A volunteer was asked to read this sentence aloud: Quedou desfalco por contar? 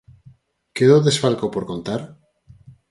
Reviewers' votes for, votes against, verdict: 4, 0, accepted